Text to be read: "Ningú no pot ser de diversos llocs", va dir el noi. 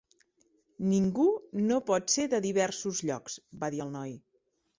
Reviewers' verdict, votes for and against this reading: accepted, 2, 0